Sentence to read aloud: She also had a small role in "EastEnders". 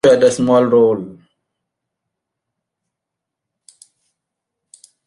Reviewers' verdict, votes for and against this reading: rejected, 0, 2